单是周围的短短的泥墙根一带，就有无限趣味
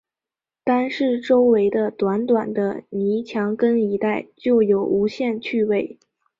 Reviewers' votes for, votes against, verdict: 2, 0, accepted